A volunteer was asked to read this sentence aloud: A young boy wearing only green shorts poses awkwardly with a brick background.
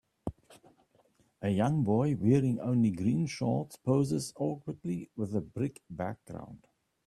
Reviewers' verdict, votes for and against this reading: accepted, 2, 1